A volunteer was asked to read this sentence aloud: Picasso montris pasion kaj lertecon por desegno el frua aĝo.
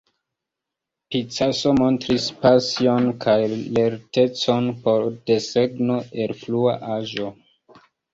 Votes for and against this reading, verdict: 1, 2, rejected